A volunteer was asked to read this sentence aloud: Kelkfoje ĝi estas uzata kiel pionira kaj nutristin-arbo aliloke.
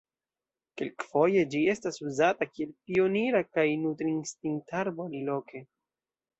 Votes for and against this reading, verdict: 2, 0, accepted